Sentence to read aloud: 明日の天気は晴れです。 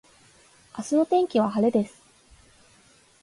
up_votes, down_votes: 2, 0